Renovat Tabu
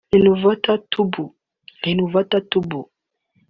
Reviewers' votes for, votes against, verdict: 0, 2, rejected